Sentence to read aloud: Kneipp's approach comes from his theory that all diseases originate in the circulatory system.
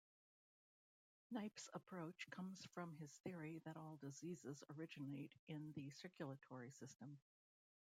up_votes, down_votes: 0, 2